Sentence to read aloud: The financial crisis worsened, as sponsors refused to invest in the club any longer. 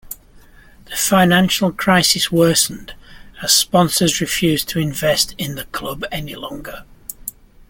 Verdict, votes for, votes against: accepted, 2, 1